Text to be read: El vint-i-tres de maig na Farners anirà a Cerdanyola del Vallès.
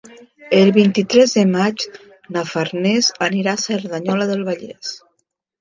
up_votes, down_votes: 4, 1